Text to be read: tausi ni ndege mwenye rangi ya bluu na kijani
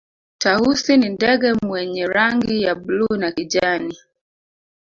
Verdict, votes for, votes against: rejected, 0, 2